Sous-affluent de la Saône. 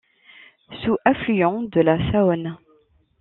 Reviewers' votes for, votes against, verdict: 2, 0, accepted